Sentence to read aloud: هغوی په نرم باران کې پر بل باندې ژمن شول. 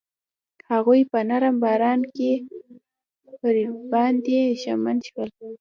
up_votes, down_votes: 0, 2